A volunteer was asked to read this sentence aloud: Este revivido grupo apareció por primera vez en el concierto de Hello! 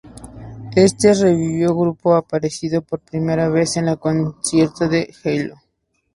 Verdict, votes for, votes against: rejected, 0, 2